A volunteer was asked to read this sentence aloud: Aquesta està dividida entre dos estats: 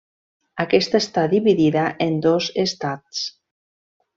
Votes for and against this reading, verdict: 0, 2, rejected